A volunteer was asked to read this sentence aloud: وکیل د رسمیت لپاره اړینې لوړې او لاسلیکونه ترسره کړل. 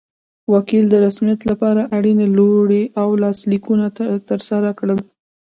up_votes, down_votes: 2, 0